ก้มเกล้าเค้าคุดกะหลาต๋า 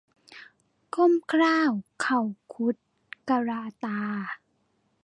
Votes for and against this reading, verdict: 0, 2, rejected